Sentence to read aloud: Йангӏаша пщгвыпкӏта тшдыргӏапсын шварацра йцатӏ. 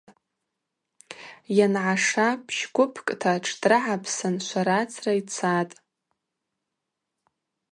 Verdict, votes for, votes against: rejected, 2, 2